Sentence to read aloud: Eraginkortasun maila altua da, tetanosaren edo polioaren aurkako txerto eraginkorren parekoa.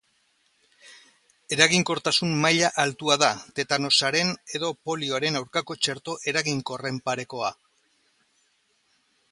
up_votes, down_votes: 2, 0